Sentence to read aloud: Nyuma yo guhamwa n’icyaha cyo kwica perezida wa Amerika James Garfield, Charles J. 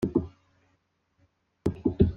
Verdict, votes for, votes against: rejected, 0, 3